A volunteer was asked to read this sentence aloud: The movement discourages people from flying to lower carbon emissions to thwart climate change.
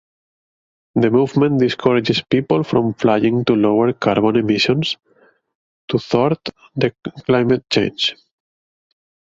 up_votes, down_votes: 0, 4